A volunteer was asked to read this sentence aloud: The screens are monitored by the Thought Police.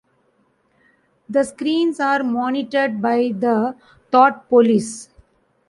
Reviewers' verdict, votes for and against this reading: accepted, 2, 0